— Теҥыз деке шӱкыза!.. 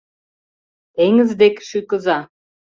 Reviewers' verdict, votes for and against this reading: rejected, 1, 2